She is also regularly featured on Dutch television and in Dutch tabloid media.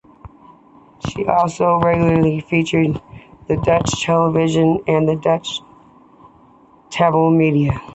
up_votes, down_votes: 2, 0